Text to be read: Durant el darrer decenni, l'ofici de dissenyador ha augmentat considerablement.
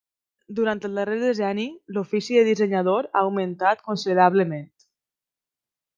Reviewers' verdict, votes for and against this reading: accepted, 2, 1